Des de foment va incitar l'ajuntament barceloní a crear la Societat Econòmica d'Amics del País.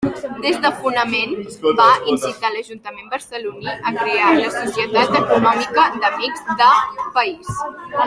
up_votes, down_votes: 1, 2